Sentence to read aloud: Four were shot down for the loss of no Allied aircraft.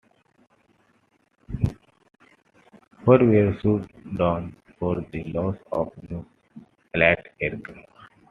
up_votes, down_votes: 2, 1